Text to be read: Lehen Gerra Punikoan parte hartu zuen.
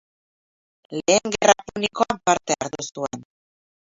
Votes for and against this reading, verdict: 0, 4, rejected